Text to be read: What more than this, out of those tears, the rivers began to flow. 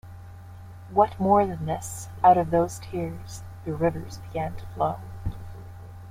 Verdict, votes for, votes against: accepted, 2, 0